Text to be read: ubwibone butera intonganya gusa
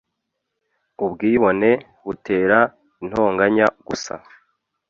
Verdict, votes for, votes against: accepted, 2, 0